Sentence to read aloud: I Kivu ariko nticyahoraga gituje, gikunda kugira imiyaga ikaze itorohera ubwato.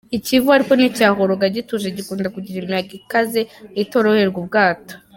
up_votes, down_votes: 1, 2